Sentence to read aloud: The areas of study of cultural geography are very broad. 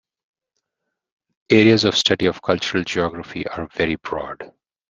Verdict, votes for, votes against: rejected, 0, 2